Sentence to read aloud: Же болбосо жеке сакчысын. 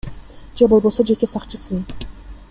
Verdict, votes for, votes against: accepted, 2, 0